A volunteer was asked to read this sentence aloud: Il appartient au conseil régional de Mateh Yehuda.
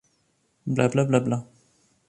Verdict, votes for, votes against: rejected, 1, 2